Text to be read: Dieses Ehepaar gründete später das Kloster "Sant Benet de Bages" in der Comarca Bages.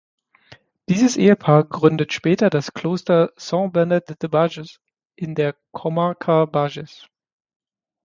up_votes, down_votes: 3, 6